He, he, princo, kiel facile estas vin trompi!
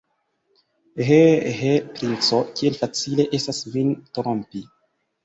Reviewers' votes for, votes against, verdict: 2, 1, accepted